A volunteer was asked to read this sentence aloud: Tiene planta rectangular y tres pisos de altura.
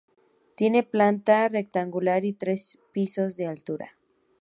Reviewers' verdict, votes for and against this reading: rejected, 0, 2